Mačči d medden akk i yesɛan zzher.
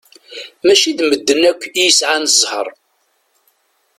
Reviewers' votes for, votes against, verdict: 2, 0, accepted